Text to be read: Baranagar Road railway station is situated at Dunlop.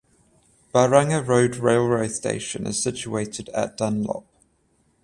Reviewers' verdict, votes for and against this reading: rejected, 7, 7